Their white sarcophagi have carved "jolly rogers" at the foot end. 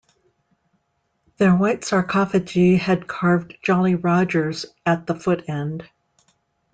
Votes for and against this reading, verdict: 2, 0, accepted